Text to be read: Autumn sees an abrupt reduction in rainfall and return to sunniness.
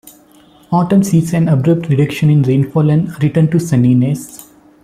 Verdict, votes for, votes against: rejected, 0, 2